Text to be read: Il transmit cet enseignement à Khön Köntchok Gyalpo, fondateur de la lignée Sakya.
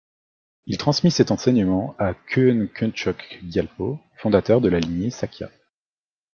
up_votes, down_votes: 2, 0